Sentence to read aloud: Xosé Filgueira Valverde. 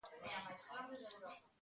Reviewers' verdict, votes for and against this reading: rejected, 0, 2